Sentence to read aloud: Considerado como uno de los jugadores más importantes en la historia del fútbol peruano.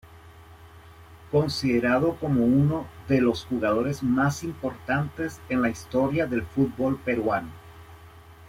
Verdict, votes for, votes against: accepted, 2, 0